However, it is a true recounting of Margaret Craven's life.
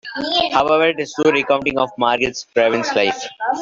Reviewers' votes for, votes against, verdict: 0, 2, rejected